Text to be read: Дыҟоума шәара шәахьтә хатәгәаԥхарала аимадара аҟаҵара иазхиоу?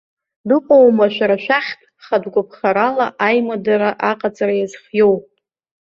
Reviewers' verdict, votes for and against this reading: accepted, 2, 0